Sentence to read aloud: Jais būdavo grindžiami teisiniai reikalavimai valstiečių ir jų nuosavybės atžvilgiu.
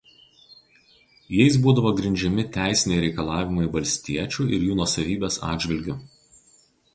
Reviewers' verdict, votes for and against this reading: rejected, 0, 2